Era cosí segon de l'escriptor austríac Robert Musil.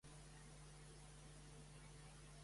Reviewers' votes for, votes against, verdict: 0, 2, rejected